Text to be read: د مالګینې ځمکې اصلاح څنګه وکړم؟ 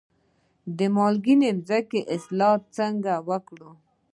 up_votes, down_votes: 2, 0